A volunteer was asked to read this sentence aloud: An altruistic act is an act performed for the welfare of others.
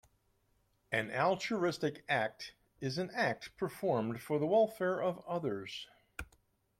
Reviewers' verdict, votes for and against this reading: accepted, 2, 0